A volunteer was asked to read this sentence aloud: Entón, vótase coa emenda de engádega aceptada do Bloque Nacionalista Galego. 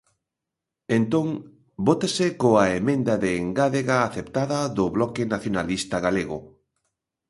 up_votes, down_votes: 2, 0